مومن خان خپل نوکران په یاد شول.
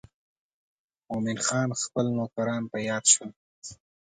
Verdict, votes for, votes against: accepted, 2, 0